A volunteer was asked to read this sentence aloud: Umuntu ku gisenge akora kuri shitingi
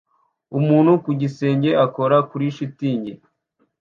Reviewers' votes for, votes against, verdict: 2, 0, accepted